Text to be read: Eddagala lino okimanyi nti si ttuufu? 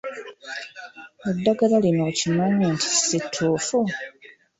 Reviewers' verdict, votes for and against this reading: accepted, 2, 0